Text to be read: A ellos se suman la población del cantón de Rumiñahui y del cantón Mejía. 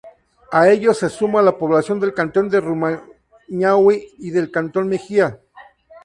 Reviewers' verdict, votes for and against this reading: accepted, 2, 0